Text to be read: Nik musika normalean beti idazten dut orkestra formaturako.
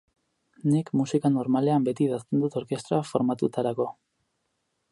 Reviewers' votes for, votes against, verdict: 2, 4, rejected